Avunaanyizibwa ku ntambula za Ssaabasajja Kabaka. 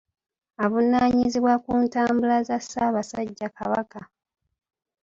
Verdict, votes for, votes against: accepted, 2, 0